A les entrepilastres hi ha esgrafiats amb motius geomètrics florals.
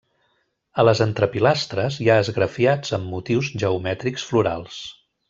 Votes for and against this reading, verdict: 1, 2, rejected